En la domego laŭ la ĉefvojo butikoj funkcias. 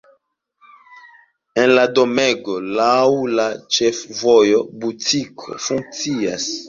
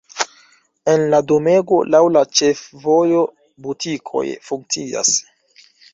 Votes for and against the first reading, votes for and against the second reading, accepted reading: 2, 1, 0, 2, first